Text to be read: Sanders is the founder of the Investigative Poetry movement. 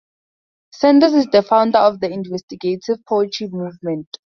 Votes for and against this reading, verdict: 4, 0, accepted